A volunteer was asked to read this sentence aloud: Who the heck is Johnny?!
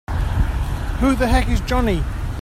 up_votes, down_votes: 2, 0